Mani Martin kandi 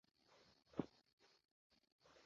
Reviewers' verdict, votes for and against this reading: rejected, 0, 2